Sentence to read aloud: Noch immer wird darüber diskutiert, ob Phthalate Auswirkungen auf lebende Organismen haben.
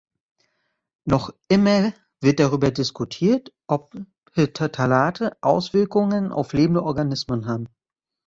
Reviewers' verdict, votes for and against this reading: rejected, 0, 2